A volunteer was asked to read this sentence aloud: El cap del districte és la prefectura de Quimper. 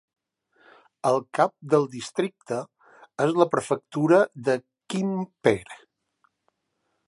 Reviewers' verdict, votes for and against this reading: rejected, 1, 2